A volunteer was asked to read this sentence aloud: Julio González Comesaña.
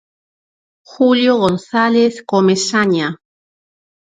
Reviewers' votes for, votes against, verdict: 4, 2, accepted